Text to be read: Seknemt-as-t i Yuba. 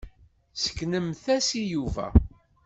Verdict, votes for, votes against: rejected, 1, 2